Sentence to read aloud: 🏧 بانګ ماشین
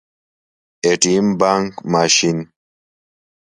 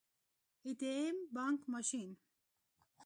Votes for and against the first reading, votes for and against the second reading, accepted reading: 2, 0, 1, 2, first